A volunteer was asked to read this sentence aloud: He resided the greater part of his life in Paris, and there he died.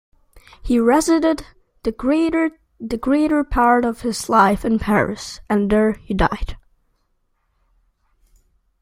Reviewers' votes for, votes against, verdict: 0, 2, rejected